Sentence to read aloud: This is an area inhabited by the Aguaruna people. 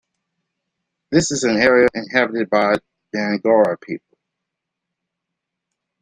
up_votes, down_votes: 0, 2